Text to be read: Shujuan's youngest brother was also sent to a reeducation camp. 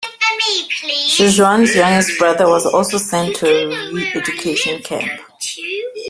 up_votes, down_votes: 1, 2